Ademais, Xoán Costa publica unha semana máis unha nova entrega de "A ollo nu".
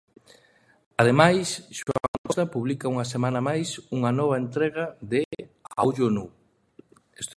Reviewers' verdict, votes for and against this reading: rejected, 0, 2